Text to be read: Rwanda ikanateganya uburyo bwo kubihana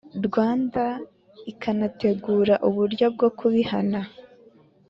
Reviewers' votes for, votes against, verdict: 3, 2, accepted